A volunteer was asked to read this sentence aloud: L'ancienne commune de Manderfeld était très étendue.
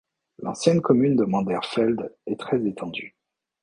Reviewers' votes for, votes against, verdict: 1, 2, rejected